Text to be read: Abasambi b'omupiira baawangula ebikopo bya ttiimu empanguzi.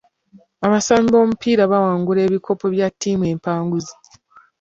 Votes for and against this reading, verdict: 2, 0, accepted